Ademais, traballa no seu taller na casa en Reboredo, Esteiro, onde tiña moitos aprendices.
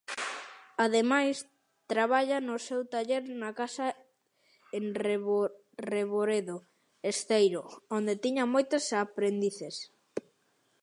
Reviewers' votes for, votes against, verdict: 0, 2, rejected